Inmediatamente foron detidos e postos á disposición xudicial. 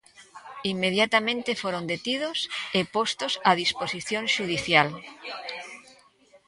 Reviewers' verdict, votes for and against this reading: rejected, 0, 2